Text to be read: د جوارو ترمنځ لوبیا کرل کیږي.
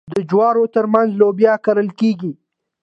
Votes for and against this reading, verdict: 2, 0, accepted